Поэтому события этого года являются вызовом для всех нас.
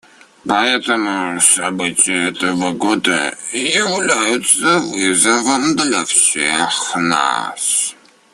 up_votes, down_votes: 0, 2